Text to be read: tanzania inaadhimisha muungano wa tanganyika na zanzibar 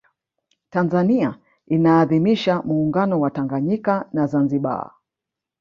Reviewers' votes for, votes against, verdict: 2, 0, accepted